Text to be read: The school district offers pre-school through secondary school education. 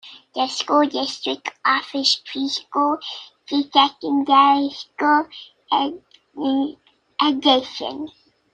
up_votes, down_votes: 1, 2